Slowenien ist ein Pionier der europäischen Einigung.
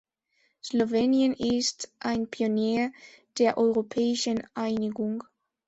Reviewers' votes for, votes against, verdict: 2, 0, accepted